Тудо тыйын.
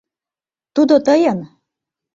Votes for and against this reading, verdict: 2, 0, accepted